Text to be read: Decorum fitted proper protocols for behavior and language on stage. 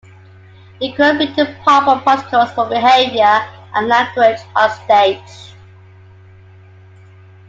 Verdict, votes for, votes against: accepted, 2, 1